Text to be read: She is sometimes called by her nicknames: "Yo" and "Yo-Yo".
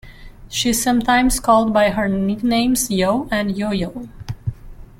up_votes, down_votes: 1, 2